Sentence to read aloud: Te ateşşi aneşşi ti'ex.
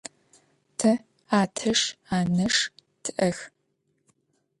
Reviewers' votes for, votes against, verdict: 1, 2, rejected